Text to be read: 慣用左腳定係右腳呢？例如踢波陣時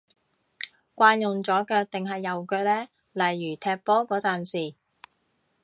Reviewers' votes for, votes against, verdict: 1, 2, rejected